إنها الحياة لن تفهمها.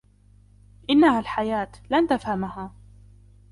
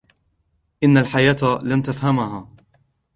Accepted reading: first